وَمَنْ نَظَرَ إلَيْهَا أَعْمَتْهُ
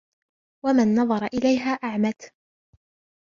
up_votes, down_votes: 0, 2